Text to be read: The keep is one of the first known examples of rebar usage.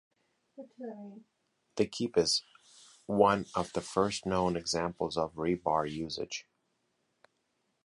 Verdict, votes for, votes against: accepted, 2, 0